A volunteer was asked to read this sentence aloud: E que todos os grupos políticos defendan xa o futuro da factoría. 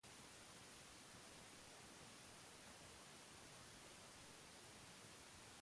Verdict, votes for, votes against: rejected, 0, 2